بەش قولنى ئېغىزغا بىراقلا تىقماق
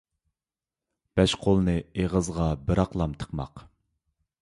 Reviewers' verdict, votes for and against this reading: rejected, 0, 2